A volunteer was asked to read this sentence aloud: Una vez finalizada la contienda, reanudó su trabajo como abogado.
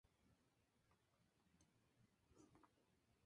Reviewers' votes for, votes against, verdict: 0, 2, rejected